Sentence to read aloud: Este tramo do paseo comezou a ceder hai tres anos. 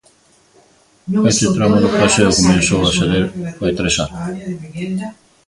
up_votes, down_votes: 0, 2